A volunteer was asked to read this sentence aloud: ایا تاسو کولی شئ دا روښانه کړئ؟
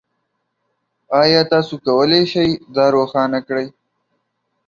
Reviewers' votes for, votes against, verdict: 2, 1, accepted